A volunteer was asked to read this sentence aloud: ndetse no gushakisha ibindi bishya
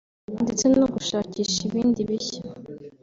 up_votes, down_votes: 2, 0